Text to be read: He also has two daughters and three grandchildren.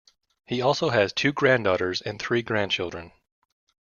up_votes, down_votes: 0, 2